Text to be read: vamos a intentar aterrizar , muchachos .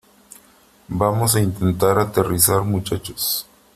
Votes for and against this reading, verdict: 3, 1, accepted